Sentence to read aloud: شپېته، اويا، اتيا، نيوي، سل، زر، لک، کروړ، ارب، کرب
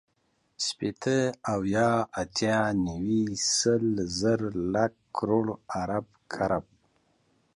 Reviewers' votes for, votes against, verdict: 2, 0, accepted